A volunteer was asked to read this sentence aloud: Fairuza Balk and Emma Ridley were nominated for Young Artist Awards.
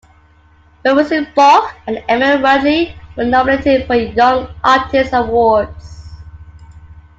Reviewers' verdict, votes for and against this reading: accepted, 2, 0